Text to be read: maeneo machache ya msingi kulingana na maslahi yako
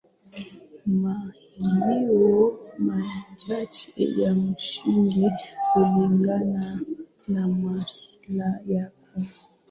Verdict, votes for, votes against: rejected, 1, 2